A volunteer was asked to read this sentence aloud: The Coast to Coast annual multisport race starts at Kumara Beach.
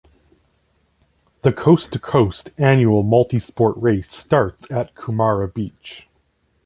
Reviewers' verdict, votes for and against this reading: accepted, 2, 1